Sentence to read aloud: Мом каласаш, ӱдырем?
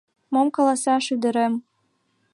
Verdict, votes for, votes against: accepted, 2, 0